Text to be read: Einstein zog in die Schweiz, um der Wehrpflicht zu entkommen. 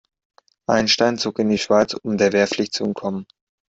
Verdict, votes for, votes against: accepted, 2, 0